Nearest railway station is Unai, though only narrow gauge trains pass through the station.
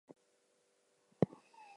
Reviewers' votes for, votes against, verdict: 0, 4, rejected